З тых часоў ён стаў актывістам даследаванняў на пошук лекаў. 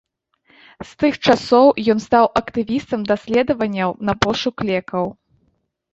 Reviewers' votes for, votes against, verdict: 2, 0, accepted